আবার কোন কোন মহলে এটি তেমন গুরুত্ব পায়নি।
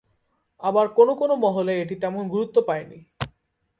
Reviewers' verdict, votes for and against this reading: accepted, 2, 0